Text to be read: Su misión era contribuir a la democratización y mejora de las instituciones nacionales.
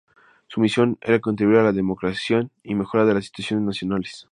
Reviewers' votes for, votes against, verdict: 0, 2, rejected